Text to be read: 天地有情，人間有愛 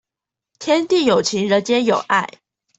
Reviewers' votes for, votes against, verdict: 2, 0, accepted